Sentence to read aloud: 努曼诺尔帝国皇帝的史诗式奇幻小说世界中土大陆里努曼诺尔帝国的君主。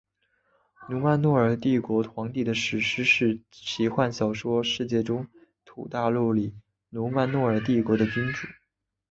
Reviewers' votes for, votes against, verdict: 2, 1, accepted